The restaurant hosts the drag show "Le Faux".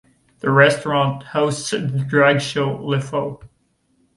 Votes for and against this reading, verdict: 2, 0, accepted